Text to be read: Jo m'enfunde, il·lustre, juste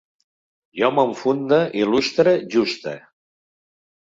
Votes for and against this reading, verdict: 2, 1, accepted